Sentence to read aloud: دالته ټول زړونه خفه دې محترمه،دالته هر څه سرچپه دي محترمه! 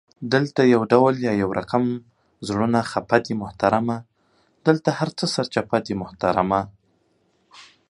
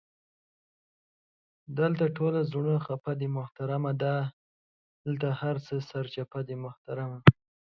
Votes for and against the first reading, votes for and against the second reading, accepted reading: 0, 2, 2, 0, second